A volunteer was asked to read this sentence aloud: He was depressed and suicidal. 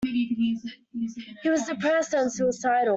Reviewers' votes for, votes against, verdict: 0, 2, rejected